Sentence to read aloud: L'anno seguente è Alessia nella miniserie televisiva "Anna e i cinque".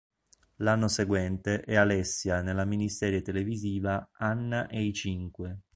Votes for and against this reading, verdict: 2, 0, accepted